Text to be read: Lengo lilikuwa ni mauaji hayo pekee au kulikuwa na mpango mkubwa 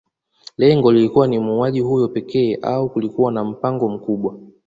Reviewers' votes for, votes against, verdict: 2, 0, accepted